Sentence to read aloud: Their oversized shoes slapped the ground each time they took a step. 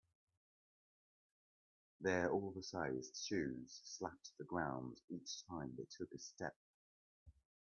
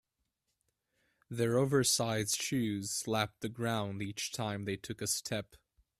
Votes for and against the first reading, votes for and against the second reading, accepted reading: 0, 2, 2, 0, second